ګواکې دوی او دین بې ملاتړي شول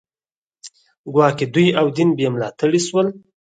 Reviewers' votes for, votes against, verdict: 4, 0, accepted